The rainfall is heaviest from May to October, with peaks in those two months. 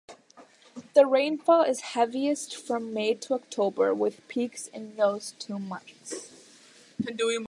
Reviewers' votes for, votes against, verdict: 2, 1, accepted